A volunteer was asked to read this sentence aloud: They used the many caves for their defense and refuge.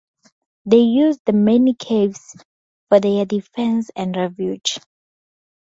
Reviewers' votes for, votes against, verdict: 4, 0, accepted